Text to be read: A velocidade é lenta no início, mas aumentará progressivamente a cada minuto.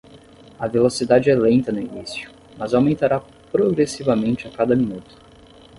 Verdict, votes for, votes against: rejected, 5, 5